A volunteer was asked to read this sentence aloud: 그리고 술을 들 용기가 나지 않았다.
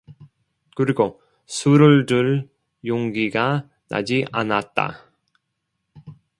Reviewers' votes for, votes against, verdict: 2, 0, accepted